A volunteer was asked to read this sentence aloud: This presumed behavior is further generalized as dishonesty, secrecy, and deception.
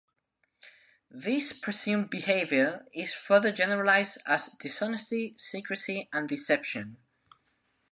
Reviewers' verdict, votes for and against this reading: accepted, 2, 0